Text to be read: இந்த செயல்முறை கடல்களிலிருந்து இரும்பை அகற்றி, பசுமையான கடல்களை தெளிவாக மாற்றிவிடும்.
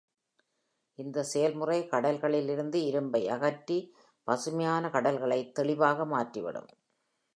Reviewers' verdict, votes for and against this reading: accepted, 2, 0